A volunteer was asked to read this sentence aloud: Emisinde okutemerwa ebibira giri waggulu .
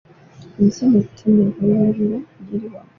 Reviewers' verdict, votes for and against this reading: rejected, 0, 2